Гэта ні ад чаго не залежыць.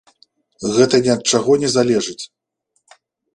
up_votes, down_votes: 2, 0